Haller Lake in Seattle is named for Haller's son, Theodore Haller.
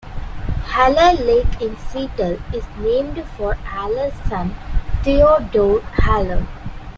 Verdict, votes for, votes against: rejected, 0, 2